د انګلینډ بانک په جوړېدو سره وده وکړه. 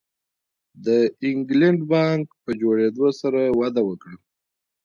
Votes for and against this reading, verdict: 0, 2, rejected